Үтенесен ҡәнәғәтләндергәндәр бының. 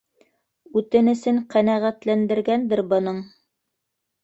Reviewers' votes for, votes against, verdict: 1, 2, rejected